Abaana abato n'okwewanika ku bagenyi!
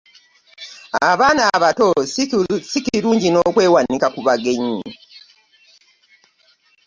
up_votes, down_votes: 0, 2